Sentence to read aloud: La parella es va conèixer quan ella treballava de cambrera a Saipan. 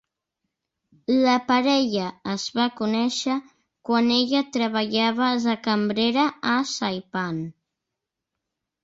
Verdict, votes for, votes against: accepted, 3, 1